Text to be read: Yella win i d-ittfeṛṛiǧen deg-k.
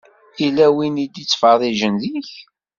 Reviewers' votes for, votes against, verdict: 2, 0, accepted